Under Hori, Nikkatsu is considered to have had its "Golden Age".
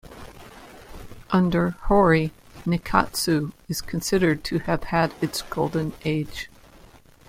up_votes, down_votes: 2, 1